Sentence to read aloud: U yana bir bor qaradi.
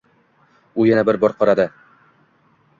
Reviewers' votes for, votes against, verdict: 2, 0, accepted